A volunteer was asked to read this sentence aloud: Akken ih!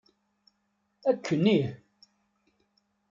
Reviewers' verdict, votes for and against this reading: accepted, 2, 0